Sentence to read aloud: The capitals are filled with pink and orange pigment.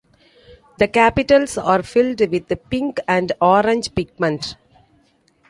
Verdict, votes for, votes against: rejected, 0, 2